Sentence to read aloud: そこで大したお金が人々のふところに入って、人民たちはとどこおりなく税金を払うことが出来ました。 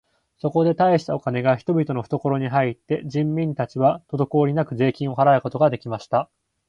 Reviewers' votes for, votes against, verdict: 2, 0, accepted